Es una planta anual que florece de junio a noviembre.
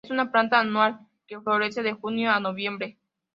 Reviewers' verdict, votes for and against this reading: accepted, 2, 0